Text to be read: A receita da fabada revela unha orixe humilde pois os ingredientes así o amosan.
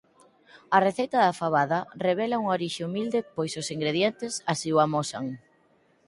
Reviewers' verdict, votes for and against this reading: accepted, 4, 0